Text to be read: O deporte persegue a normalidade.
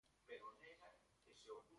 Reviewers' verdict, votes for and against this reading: rejected, 1, 2